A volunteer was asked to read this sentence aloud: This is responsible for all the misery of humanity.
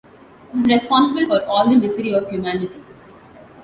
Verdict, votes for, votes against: rejected, 1, 2